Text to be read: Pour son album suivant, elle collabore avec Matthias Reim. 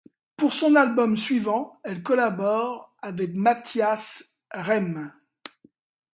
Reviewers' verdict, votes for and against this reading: accepted, 2, 0